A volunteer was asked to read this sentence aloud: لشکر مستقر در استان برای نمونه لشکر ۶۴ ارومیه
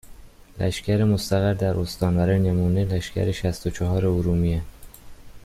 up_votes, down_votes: 0, 2